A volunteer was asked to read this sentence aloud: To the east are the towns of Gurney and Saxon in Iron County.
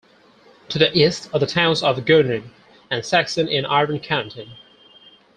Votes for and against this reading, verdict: 4, 2, accepted